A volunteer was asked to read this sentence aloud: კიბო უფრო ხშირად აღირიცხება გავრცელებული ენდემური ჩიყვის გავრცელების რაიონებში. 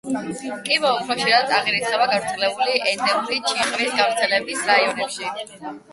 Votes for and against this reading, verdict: 0, 8, rejected